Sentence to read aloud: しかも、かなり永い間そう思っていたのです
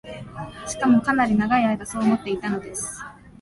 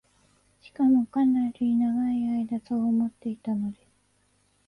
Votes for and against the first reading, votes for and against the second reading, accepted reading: 2, 0, 0, 2, first